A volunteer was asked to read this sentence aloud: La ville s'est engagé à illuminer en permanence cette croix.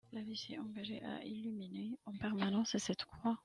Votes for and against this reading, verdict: 0, 2, rejected